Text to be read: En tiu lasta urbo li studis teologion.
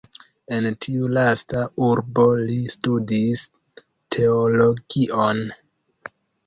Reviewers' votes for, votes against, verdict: 1, 2, rejected